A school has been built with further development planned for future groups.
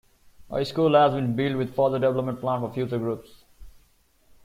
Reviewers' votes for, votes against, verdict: 2, 0, accepted